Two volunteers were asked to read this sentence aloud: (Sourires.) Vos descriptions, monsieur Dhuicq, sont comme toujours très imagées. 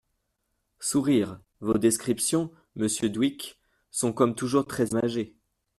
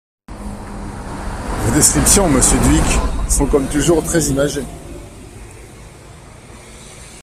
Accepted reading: second